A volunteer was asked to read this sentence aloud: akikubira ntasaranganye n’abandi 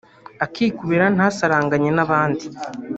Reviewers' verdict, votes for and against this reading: rejected, 1, 2